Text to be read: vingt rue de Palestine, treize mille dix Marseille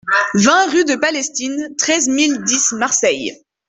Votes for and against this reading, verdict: 2, 0, accepted